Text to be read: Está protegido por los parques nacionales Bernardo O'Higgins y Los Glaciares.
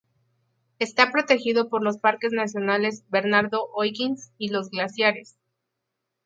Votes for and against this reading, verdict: 2, 2, rejected